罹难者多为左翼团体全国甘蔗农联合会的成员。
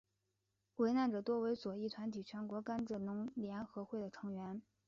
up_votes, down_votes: 4, 1